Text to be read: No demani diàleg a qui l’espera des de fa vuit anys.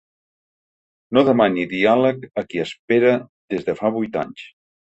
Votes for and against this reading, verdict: 0, 2, rejected